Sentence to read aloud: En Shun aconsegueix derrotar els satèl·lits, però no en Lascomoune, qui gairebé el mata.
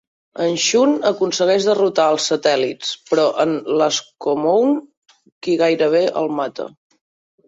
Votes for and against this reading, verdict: 0, 2, rejected